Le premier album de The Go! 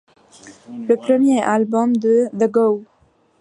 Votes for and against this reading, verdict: 2, 0, accepted